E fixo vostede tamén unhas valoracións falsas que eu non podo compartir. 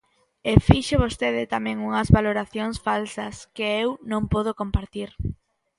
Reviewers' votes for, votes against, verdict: 2, 0, accepted